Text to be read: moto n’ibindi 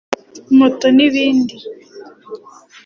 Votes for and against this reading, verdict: 3, 0, accepted